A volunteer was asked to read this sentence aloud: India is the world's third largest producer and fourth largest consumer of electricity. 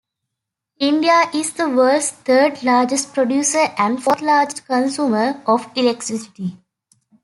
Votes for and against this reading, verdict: 2, 1, accepted